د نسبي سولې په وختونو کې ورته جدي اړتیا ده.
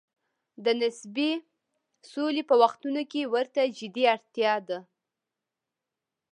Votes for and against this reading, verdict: 0, 2, rejected